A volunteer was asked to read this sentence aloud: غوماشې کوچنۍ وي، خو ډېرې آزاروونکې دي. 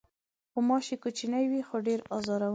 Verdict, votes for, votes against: rejected, 1, 2